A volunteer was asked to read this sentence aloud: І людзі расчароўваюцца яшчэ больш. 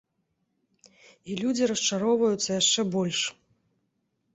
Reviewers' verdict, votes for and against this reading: accepted, 2, 0